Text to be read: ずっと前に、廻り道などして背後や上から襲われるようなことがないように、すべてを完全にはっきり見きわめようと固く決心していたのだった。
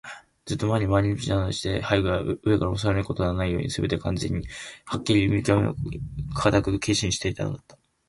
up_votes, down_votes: 0, 3